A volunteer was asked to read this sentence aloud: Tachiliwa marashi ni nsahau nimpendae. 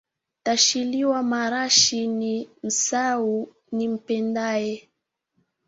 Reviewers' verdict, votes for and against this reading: accepted, 2, 1